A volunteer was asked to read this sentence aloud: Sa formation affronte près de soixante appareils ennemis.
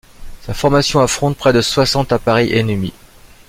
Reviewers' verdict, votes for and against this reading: accepted, 2, 0